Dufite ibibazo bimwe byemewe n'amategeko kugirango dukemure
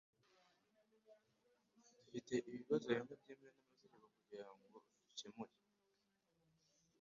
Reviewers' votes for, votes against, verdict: 2, 1, accepted